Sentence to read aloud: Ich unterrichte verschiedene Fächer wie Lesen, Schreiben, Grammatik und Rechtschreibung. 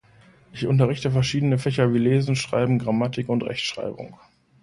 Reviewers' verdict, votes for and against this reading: accepted, 2, 0